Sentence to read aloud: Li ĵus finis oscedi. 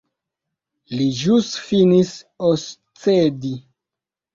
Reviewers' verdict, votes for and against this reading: accepted, 2, 0